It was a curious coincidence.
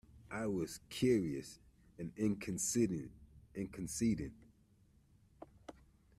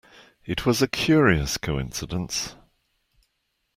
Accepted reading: second